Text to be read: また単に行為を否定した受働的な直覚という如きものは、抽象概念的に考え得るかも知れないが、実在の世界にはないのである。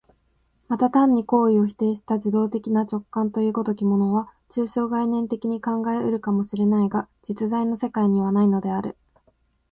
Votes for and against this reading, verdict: 2, 0, accepted